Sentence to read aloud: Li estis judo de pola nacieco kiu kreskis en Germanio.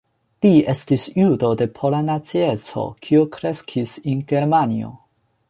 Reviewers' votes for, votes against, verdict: 2, 1, accepted